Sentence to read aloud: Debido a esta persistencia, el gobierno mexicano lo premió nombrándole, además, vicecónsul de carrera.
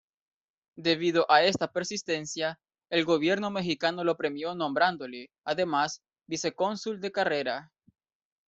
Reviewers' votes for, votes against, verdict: 2, 1, accepted